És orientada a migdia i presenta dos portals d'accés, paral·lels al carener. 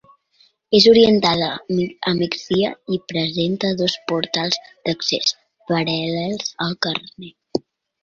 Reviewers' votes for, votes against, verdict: 1, 2, rejected